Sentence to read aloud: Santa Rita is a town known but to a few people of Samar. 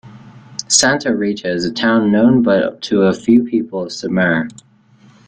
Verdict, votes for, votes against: rejected, 1, 2